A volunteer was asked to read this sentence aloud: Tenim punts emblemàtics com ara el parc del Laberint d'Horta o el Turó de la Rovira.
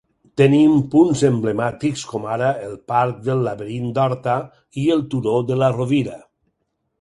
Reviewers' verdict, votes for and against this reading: rejected, 2, 4